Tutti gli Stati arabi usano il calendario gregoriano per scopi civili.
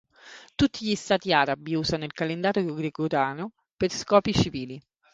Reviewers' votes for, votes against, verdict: 0, 3, rejected